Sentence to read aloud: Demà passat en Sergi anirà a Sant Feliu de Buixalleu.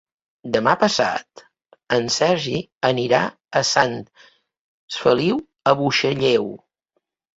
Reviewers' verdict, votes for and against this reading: rejected, 1, 2